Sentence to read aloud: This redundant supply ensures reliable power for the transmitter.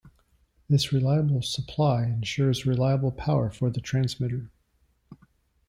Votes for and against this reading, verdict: 1, 2, rejected